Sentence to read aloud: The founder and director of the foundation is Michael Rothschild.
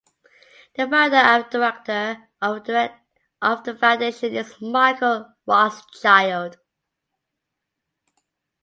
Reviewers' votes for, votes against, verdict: 0, 2, rejected